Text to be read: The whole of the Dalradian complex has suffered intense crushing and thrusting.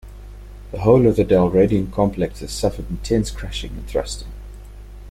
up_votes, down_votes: 2, 0